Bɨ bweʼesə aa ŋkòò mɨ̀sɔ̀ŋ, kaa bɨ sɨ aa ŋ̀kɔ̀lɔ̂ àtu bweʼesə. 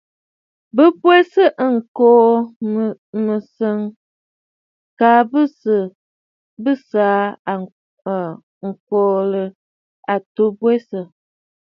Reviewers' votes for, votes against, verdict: 1, 2, rejected